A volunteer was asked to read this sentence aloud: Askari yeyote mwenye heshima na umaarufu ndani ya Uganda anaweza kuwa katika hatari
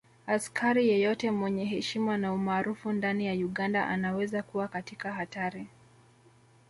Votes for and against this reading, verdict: 1, 2, rejected